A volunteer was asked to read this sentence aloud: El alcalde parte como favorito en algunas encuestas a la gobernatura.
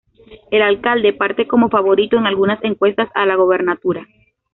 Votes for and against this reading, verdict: 2, 0, accepted